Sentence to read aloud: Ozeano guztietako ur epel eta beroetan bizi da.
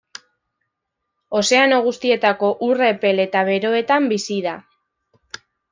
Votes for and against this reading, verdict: 2, 1, accepted